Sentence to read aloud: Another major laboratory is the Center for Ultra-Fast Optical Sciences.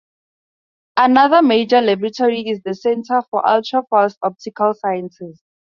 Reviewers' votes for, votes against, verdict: 2, 0, accepted